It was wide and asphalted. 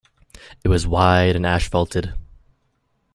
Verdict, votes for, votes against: rejected, 1, 2